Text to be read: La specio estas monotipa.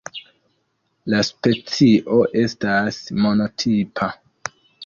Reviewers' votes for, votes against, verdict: 2, 0, accepted